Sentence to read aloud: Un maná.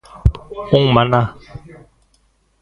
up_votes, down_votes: 1, 2